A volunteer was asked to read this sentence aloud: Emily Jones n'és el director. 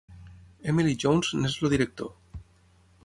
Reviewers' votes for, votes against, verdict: 6, 0, accepted